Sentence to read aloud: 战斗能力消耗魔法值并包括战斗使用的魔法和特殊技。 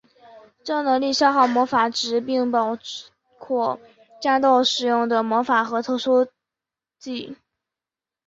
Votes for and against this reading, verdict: 3, 1, accepted